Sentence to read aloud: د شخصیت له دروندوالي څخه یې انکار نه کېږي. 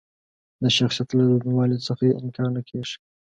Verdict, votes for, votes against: accepted, 2, 0